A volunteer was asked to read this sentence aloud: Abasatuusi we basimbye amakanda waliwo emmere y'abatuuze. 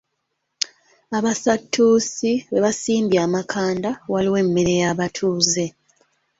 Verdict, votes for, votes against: accepted, 2, 0